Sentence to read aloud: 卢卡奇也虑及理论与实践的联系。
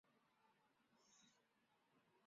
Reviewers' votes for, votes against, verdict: 0, 4, rejected